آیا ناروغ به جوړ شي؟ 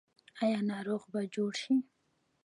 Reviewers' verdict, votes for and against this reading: rejected, 1, 2